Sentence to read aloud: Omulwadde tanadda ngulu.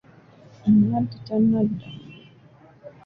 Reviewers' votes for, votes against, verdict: 0, 2, rejected